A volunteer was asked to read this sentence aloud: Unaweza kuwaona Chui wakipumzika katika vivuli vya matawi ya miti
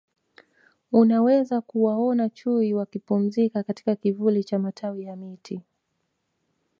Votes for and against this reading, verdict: 1, 2, rejected